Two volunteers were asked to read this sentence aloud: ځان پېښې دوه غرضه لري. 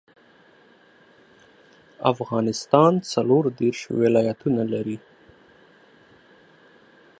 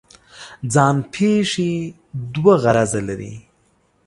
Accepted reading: second